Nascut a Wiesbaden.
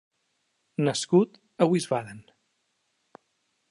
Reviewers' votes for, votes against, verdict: 2, 1, accepted